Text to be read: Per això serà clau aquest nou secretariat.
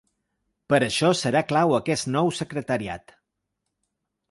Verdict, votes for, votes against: accepted, 2, 0